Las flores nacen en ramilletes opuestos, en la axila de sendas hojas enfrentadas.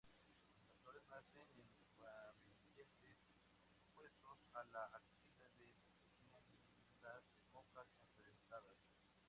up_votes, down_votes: 0, 2